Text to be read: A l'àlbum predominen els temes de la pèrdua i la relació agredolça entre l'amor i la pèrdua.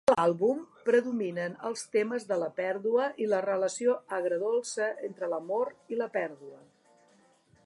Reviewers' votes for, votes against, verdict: 1, 2, rejected